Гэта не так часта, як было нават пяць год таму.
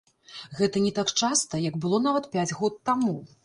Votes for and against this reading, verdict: 1, 2, rejected